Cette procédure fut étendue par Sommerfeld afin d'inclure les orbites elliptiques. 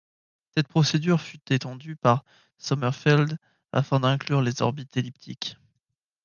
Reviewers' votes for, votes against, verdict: 1, 2, rejected